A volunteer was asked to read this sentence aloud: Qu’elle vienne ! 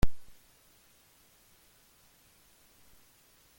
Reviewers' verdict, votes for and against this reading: rejected, 0, 2